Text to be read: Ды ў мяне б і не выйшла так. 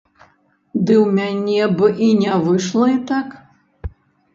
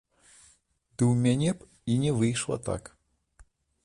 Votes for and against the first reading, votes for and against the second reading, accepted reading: 1, 2, 2, 0, second